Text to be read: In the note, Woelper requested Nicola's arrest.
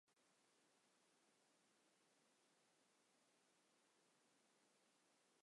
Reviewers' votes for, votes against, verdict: 0, 2, rejected